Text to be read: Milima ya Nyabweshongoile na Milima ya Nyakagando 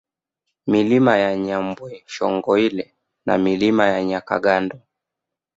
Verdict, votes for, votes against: accepted, 2, 0